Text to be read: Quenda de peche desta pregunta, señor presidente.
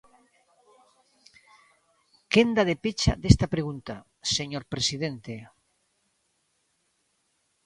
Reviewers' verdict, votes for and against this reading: rejected, 0, 2